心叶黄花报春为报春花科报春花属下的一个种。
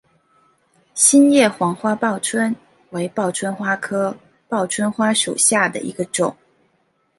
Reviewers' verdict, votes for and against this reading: accepted, 2, 0